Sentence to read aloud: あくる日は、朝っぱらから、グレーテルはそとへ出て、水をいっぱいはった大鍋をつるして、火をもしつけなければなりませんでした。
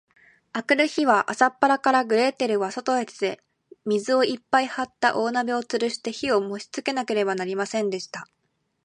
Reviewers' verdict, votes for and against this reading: accepted, 2, 0